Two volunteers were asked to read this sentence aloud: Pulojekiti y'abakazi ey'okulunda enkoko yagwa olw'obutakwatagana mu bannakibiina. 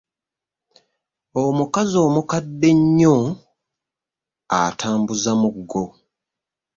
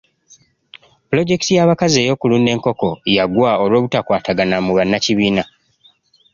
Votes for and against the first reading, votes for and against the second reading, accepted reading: 0, 2, 2, 0, second